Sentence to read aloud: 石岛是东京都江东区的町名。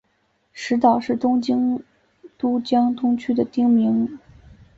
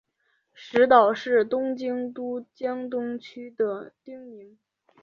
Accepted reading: first